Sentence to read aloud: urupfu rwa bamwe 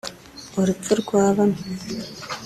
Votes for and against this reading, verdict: 3, 0, accepted